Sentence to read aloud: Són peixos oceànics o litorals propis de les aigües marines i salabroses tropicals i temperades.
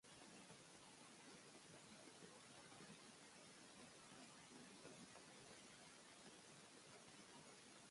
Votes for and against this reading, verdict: 0, 2, rejected